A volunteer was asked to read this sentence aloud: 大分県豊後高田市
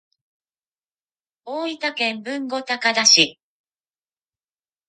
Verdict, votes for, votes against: accepted, 3, 0